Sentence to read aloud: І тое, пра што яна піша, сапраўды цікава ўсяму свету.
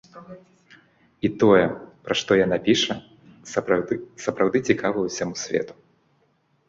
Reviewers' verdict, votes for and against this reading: rejected, 1, 2